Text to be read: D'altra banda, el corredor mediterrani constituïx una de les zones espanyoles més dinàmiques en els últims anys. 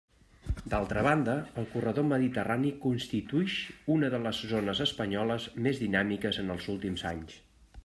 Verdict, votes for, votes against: accepted, 2, 1